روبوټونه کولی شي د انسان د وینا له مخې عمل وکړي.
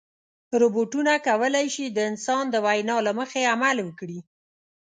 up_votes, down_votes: 2, 0